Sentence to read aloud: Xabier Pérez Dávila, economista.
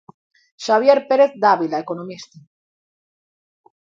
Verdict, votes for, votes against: accepted, 2, 0